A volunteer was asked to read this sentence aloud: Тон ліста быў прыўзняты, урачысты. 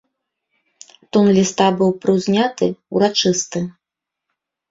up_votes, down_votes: 1, 2